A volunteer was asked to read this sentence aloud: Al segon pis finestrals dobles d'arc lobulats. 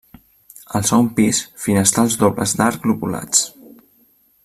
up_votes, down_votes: 0, 2